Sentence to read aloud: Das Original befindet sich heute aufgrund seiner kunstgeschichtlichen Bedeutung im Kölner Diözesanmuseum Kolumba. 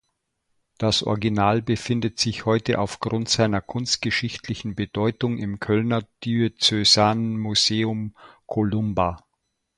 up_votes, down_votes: 1, 2